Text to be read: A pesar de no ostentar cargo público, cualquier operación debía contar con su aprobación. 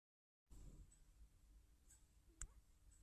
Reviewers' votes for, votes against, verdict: 0, 2, rejected